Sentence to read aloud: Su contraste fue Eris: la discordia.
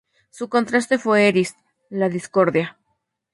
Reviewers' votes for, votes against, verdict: 2, 0, accepted